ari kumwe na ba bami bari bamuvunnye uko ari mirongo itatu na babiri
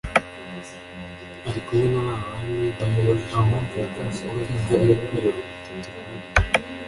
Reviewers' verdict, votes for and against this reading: rejected, 1, 2